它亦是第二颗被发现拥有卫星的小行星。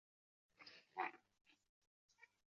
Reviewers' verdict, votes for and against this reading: rejected, 0, 3